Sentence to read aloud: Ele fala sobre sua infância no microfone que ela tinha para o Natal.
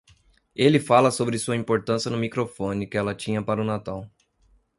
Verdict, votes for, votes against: rejected, 1, 2